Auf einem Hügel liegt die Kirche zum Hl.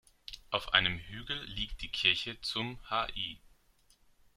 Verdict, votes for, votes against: rejected, 1, 2